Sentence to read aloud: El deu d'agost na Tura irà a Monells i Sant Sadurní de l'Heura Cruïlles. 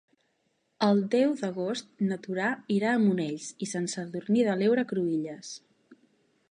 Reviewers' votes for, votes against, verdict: 0, 2, rejected